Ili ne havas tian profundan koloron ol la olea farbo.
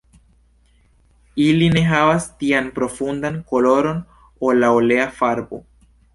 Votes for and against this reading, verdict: 2, 0, accepted